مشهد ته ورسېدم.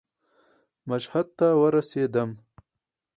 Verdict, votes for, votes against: rejected, 2, 2